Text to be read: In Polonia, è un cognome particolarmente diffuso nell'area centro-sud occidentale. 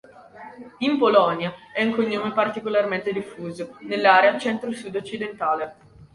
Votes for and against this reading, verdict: 2, 0, accepted